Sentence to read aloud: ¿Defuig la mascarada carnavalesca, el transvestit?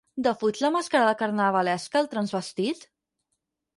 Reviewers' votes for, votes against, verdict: 0, 4, rejected